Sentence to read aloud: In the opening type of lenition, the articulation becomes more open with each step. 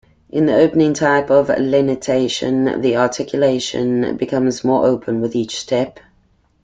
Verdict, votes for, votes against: rejected, 0, 2